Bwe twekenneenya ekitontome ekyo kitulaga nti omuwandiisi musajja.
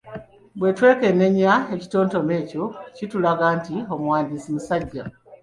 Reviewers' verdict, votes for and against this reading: accepted, 2, 0